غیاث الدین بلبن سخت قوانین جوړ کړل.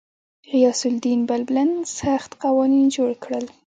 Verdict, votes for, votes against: accepted, 2, 0